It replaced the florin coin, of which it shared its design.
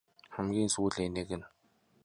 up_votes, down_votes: 0, 2